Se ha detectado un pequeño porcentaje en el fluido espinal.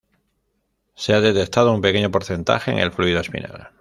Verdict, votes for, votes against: rejected, 1, 2